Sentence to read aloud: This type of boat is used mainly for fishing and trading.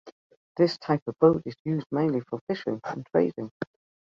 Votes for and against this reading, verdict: 3, 0, accepted